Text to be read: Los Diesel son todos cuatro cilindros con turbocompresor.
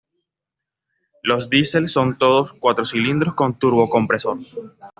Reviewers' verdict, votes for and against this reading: accepted, 2, 0